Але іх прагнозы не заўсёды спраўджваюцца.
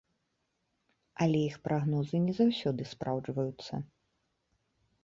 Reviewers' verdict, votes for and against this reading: accepted, 2, 0